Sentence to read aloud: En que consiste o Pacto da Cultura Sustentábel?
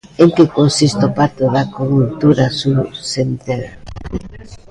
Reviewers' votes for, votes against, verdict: 0, 3, rejected